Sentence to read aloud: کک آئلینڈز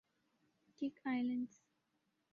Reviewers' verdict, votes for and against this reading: accepted, 2, 0